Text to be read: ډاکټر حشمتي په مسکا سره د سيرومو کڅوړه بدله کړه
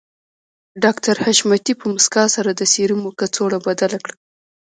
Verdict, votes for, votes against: accepted, 2, 0